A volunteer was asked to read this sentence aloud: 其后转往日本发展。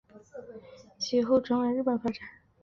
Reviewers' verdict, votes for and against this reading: accepted, 2, 0